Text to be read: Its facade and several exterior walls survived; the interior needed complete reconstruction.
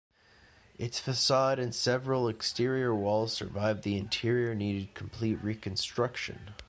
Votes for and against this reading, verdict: 2, 0, accepted